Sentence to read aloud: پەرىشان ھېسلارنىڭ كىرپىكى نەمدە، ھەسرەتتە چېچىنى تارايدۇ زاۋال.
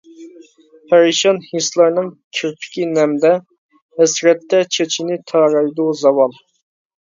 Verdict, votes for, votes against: accepted, 2, 0